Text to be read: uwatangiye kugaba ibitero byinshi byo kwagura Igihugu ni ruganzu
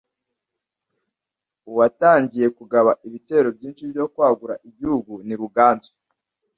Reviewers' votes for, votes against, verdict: 2, 1, accepted